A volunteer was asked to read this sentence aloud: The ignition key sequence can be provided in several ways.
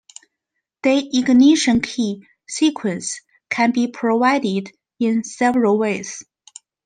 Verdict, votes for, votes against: accepted, 2, 1